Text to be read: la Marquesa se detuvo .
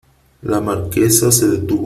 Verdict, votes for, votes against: rejected, 2, 3